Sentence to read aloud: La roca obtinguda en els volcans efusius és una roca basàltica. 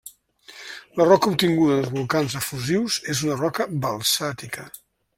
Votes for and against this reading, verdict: 0, 2, rejected